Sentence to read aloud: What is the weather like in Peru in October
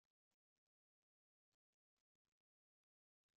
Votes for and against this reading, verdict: 0, 2, rejected